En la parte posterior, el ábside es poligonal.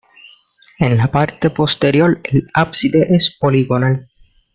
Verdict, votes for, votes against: accepted, 2, 0